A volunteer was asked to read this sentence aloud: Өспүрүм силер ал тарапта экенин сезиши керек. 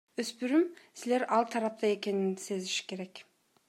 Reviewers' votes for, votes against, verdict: 2, 0, accepted